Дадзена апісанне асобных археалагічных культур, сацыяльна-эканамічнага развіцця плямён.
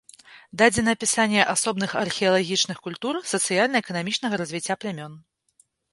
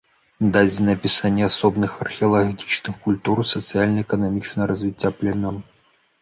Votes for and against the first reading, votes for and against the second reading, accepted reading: 2, 0, 0, 2, first